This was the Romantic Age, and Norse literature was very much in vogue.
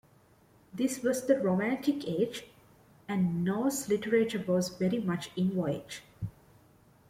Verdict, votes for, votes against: rejected, 0, 2